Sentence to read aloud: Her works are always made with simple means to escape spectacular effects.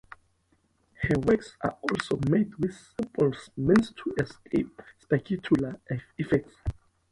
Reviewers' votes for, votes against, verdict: 0, 2, rejected